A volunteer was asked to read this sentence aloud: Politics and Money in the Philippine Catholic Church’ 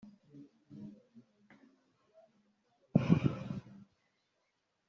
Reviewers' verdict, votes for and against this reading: rejected, 1, 2